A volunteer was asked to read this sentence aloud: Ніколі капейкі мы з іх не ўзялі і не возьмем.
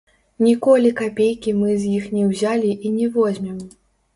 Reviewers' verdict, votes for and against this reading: rejected, 1, 3